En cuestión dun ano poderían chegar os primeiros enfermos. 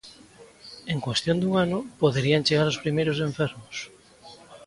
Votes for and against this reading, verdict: 2, 0, accepted